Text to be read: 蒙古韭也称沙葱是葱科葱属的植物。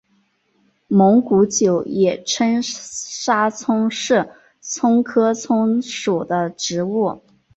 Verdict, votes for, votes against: accepted, 2, 0